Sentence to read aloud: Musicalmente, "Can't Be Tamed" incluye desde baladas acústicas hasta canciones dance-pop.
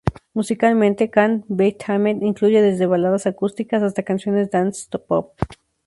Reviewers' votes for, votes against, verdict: 2, 0, accepted